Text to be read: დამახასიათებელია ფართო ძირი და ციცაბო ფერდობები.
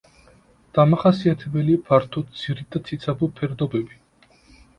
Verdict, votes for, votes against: accepted, 2, 0